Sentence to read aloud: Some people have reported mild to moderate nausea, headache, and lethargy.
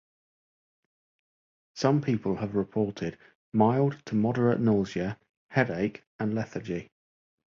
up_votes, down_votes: 2, 0